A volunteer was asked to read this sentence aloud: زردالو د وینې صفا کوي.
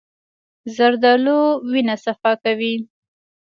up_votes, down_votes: 2, 0